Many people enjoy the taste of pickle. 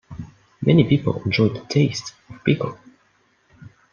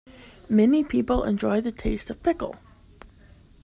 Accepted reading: second